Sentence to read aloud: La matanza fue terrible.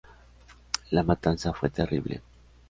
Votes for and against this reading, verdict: 2, 0, accepted